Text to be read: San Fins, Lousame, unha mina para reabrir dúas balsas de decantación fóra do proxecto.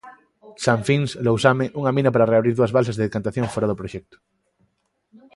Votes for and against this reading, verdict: 1, 2, rejected